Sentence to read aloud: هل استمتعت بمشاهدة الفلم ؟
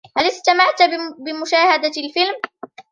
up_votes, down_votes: 0, 2